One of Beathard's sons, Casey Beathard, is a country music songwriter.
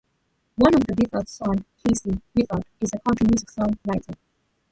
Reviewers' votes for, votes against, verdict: 0, 2, rejected